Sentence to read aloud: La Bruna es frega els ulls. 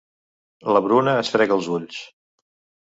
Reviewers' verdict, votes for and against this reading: accepted, 3, 0